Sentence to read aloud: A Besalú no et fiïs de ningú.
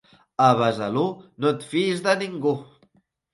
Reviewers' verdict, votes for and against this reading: accepted, 3, 0